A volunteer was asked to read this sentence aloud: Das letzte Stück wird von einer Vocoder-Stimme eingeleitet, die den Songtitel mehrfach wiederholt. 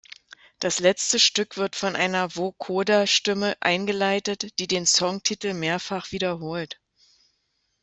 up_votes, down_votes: 2, 0